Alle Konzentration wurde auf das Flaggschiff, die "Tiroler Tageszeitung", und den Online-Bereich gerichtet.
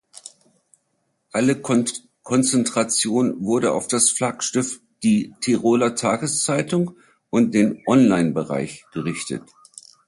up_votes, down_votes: 0, 2